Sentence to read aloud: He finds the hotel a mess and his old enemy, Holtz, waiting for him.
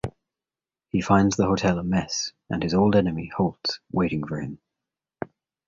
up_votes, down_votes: 2, 0